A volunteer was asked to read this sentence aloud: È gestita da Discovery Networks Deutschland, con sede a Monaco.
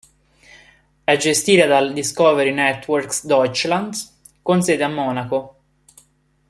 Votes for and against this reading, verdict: 0, 2, rejected